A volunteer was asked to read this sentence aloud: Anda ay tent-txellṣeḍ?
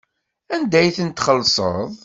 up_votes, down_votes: 2, 0